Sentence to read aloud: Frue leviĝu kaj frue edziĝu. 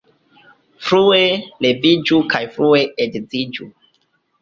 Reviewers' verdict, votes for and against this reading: accepted, 2, 0